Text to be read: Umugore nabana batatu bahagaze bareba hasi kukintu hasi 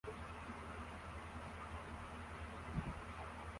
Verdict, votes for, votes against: rejected, 0, 2